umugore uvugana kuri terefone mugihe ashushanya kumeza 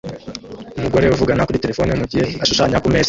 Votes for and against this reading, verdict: 0, 2, rejected